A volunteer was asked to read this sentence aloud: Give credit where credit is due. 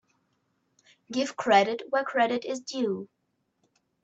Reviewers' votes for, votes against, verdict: 2, 0, accepted